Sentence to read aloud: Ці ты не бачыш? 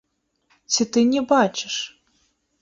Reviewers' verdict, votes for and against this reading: accepted, 3, 0